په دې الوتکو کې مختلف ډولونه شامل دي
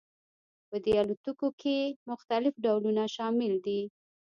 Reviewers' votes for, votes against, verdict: 1, 2, rejected